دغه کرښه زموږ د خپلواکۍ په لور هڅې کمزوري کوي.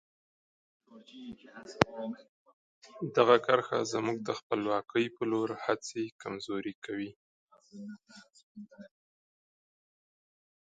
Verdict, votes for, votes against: rejected, 1, 2